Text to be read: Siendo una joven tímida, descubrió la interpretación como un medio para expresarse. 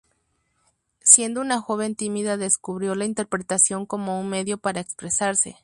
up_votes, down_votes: 2, 0